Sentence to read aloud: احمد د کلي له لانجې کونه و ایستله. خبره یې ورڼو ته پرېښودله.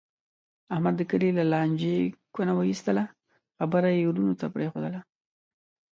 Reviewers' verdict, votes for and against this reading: rejected, 1, 2